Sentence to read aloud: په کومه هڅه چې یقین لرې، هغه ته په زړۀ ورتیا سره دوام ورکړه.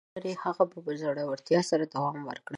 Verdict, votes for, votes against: rejected, 1, 2